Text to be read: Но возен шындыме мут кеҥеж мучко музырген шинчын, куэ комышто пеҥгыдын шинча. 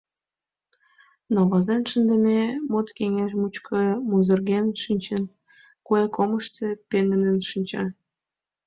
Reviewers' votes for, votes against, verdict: 2, 1, accepted